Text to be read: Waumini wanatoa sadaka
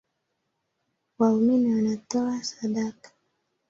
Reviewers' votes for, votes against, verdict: 3, 2, accepted